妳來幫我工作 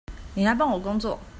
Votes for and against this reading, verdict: 2, 0, accepted